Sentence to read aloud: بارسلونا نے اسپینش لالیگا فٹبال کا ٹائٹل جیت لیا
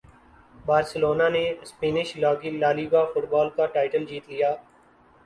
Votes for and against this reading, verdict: 2, 0, accepted